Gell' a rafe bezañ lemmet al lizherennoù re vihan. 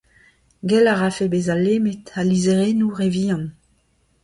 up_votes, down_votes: 2, 0